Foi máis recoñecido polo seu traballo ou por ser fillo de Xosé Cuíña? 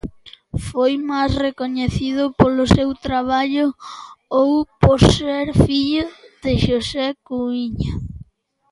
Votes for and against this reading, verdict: 2, 0, accepted